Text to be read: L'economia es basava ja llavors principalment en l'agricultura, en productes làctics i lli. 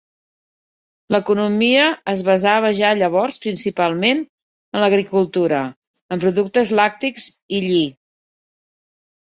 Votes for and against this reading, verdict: 2, 0, accepted